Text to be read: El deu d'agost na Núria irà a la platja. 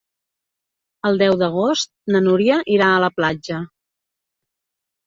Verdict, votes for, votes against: accepted, 4, 0